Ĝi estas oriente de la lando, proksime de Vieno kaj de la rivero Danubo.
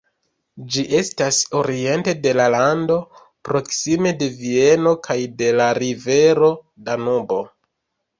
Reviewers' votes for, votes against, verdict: 2, 0, accepted